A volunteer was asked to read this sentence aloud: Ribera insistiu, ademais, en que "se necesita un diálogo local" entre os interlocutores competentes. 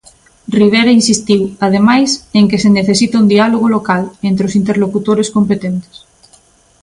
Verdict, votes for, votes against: accepted, 2, 0